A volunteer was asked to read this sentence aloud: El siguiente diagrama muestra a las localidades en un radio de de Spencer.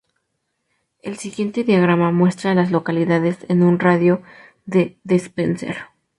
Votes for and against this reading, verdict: 0, 2, rejected